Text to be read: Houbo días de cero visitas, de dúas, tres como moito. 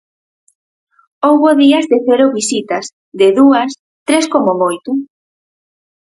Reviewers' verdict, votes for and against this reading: accepted, 4, 0